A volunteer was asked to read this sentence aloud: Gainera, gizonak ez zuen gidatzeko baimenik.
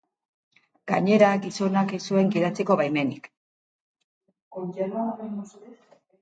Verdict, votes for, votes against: rejected, 1, 2